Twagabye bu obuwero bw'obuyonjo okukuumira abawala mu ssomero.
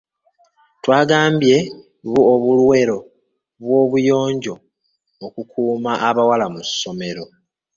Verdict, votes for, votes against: rejected, 0, 2